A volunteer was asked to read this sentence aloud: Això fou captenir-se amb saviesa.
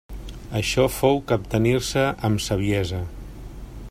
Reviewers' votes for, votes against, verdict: 3, 0, accepted